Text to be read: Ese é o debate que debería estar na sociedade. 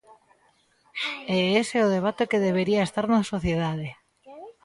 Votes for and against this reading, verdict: 1, 2, rejected